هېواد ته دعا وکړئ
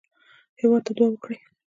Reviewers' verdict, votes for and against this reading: accepted, 2, 0